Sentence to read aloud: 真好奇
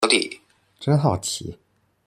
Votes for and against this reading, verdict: 0, 2, rejected